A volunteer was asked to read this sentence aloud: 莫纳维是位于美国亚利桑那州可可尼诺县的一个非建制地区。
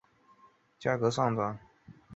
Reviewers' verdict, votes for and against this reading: rejected, 0, 2